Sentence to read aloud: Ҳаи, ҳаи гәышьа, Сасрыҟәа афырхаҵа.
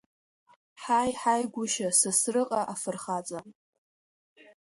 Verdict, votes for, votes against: rejected, 0, 2